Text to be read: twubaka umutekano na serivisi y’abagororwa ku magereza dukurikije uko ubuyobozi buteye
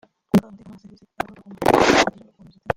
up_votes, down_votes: 0, 2